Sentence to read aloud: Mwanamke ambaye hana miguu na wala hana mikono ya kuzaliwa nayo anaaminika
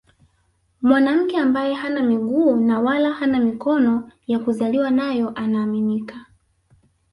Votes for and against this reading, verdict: 3, 1, accepted